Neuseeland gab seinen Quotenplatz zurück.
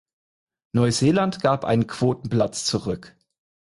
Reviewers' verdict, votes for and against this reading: rejected, 0, 4